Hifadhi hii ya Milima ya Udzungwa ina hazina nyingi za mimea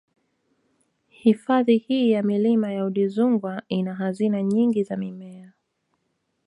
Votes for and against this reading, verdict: 2, 0, accepted